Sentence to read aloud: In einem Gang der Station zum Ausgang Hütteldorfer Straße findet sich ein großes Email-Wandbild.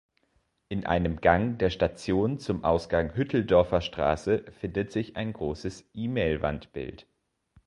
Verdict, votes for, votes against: rejected, 1, 2